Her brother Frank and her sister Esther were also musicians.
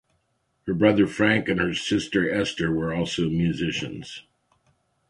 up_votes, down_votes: 2, 0